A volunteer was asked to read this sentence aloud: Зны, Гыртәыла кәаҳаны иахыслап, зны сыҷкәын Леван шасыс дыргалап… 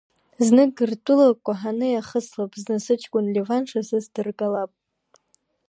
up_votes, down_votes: 2, 0